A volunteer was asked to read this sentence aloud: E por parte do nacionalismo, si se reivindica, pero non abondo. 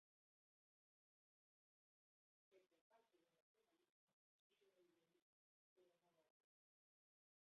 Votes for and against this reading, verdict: 0, 2, rejected